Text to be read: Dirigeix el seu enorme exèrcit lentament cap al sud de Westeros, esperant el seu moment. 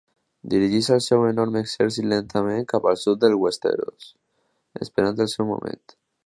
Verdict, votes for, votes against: rejected, 0, 2